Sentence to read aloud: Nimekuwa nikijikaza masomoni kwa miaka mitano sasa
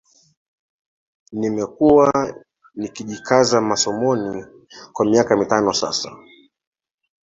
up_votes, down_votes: 2, 1